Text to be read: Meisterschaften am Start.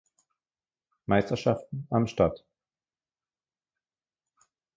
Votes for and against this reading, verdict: 2, 0, accepted